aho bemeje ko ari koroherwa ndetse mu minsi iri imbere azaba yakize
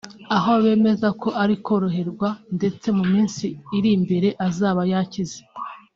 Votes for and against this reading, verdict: 2, 1, accepted